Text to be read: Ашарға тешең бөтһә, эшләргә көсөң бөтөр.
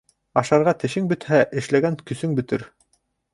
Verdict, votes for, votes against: rejected, 0, 2